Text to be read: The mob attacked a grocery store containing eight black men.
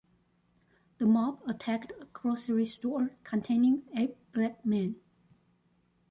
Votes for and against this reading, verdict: 1, 2, rejected